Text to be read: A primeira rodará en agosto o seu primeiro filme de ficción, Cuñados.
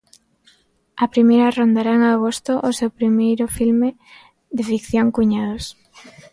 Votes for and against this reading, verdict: 0, 2, rejected